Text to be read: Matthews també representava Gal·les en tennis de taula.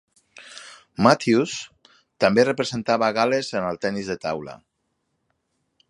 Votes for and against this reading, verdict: 1, 2, rejected